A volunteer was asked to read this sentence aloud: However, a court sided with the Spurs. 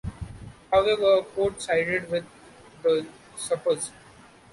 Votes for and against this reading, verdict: 0, 2, rejected